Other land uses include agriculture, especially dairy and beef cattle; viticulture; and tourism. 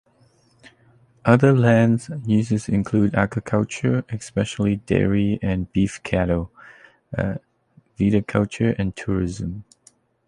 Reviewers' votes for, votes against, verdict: 1, 2, rejected